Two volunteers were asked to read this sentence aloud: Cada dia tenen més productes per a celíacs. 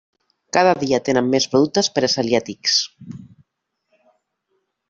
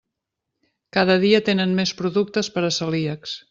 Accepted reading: second